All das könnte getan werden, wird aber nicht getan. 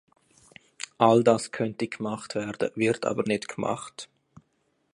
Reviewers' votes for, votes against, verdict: 1, 2, rejected